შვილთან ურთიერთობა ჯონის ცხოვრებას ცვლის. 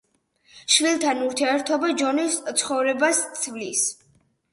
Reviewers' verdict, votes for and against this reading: accepted, 4, 0